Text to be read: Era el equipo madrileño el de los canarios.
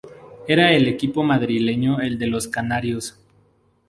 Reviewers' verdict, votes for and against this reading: accepted, 2, 0